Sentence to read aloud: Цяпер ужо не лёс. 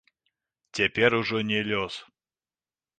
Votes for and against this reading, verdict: 0, 2, rejected